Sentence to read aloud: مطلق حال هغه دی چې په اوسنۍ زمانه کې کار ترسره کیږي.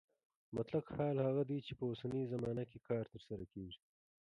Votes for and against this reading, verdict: 1, 2, rejected